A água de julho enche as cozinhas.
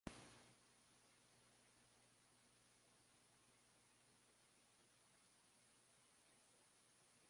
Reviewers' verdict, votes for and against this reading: rejected, 0, 2